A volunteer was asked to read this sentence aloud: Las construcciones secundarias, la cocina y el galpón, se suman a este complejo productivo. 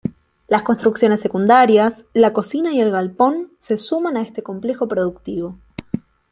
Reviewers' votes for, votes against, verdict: 2, 0, accepted